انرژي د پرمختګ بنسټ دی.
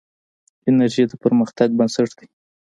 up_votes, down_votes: 1, 2